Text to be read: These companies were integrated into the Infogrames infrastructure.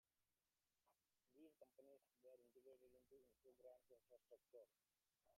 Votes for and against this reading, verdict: 1, 2, rejected